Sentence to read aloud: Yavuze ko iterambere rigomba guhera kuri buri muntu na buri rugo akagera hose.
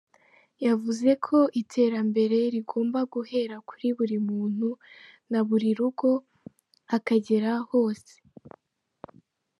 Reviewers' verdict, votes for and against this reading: accepted, 2, 0